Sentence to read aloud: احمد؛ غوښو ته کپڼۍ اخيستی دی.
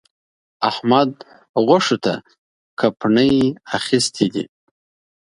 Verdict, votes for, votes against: rejected, 1, 2